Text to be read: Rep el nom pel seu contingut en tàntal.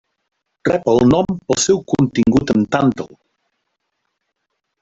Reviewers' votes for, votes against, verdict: 0, 2, rejected